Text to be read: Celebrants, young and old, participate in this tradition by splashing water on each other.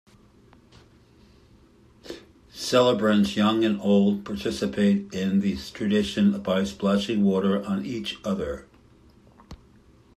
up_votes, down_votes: 2, 0